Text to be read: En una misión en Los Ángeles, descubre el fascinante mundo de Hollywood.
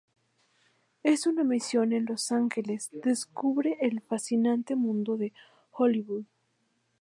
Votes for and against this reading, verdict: 0, 2, rejected